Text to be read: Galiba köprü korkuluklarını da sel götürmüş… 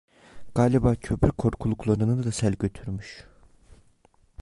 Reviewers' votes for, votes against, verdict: 0, 2, rejected